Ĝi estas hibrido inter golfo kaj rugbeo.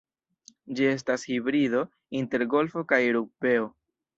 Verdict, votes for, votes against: accepted, 2, 0